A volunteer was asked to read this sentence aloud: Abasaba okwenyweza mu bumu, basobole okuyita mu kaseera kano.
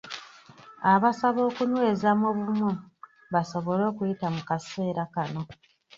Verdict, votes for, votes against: rejected, 0, 2